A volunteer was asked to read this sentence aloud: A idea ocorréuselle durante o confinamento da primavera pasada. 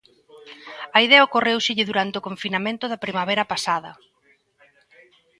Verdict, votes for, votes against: accepted, 2, 0